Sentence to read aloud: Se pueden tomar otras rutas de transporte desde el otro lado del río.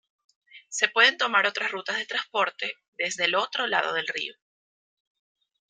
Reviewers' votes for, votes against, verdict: 1, 2, rejected